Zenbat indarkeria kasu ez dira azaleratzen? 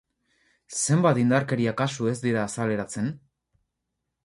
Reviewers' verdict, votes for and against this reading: accepted, 2, 0